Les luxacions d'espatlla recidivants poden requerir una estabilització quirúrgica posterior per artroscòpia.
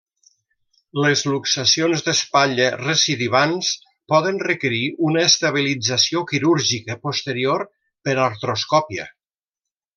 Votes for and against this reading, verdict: 0, 2, rejected